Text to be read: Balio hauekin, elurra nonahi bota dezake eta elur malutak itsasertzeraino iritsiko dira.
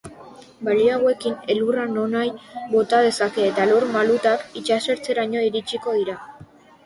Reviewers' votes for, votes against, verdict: 0, 2, rejected